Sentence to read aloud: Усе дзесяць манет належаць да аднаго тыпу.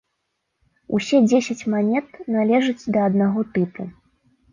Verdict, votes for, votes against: accepted, 3, 0